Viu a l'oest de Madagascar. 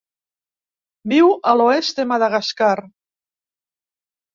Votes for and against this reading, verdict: 2, 0, accepted